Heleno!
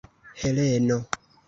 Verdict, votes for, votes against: accepted, 2, 1